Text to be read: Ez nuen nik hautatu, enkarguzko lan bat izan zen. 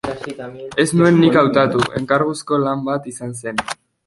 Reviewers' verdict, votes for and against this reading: rejected, 0, 3